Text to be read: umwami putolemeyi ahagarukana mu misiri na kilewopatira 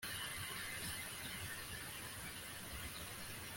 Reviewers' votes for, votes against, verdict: 0, 2, rejected